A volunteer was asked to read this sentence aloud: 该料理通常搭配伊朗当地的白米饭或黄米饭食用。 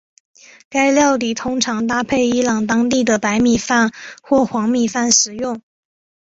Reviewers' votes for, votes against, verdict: 3, 1, accepted